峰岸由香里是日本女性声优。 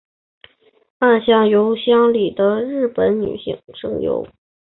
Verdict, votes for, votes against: rejected, 0, 2